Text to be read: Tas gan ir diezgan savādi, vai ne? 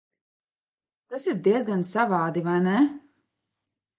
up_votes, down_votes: 0, 2